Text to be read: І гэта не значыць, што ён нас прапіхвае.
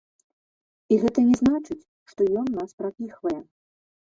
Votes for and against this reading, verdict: 0, 2, rejected